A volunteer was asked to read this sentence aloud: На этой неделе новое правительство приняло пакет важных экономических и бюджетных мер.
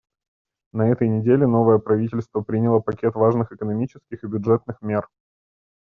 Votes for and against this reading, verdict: 2, 0, accepted